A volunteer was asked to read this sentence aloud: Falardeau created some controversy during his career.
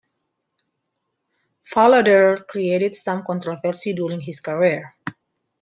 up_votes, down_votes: 2, 1